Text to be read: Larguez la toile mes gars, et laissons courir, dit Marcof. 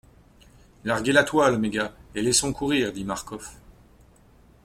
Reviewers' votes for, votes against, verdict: 2, 0, accepted